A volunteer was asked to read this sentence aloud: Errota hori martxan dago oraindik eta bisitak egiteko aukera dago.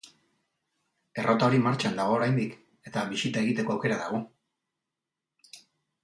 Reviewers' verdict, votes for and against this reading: rejected, 0, 2